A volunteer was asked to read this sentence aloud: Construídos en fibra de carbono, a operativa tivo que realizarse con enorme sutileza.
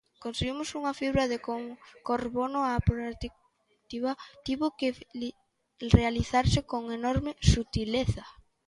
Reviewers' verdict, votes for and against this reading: rejected, 0, 3